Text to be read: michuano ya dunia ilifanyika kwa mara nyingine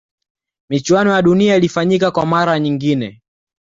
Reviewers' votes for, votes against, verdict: 2, 0, accepted